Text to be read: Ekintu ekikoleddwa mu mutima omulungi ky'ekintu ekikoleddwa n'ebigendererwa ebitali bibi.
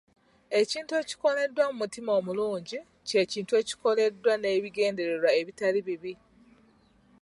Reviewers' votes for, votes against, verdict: 2, 0, accepted